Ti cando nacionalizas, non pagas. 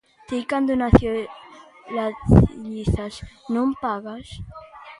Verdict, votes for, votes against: rejected, 0, 2